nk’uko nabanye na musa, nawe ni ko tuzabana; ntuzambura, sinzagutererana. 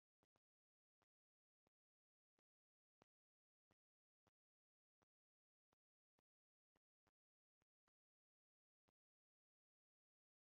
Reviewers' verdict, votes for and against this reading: rejected, 0, 2